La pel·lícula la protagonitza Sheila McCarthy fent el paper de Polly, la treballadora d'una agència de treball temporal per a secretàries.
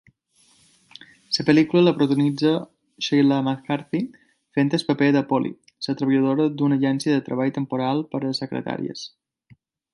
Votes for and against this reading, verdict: 1, 2, rejected